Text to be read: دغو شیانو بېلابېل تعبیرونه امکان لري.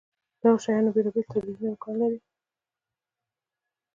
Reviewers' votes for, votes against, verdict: 2, 0, accepted